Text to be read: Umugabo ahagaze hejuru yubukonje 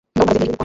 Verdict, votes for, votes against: rejected, 0, 2